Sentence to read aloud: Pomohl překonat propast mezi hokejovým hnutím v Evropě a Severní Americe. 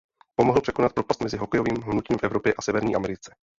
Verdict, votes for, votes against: rejected, 0, 2